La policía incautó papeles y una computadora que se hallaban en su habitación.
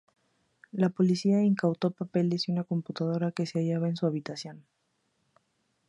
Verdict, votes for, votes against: accepted, 2, 0